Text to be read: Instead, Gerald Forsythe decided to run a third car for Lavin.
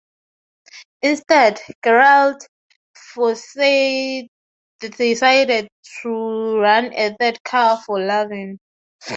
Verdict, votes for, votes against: rejected, 2, 2